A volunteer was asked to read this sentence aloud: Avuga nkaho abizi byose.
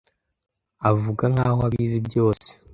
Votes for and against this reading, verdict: 2, 0, accepted